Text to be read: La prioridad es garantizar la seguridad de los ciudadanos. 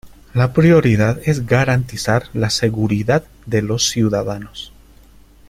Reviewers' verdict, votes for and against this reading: accepted, 2, 1